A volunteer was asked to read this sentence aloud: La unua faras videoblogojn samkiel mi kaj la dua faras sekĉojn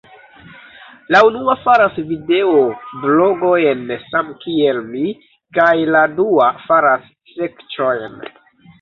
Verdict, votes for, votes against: rejected, 0, 2